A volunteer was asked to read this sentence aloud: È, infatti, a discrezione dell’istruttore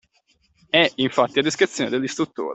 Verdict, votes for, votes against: accepted, 2, 1